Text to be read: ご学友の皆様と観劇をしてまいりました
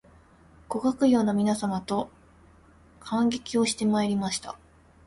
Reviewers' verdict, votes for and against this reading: accepted, 2, 1